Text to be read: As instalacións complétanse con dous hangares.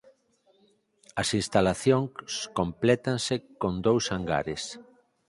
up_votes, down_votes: 4, 2